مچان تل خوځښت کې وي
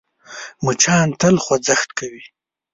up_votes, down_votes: 0, 2